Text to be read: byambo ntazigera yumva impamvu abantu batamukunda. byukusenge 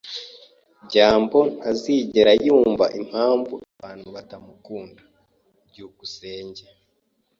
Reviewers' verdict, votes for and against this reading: accepted, 2, 0